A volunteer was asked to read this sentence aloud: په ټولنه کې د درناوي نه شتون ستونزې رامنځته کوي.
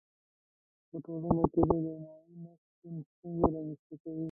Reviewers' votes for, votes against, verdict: 0, 2, rejected